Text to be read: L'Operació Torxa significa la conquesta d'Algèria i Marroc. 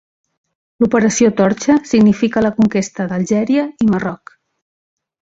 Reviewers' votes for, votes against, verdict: 3, 0, accepted